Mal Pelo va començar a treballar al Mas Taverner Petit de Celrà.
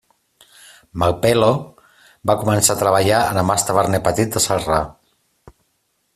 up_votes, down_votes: 2, 0